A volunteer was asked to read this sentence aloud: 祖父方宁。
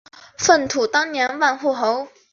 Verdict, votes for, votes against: rejected, 1, 2